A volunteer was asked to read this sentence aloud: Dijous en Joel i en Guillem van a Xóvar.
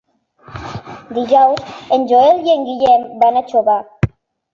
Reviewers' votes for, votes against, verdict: 1, 2, rejected